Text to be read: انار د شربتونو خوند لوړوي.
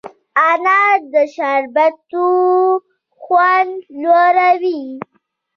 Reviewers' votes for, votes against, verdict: 2, 0, accepted